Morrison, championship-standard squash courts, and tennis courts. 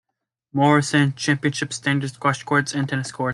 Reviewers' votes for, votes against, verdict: 0, 2, rejected